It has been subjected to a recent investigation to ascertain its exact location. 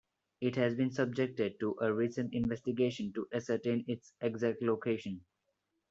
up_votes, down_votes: 2, 1